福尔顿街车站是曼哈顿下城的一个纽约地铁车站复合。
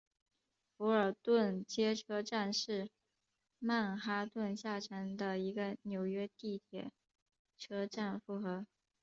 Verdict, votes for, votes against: accepted, 2, 1